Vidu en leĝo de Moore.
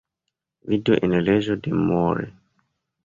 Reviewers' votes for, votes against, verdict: 2, 0, accepted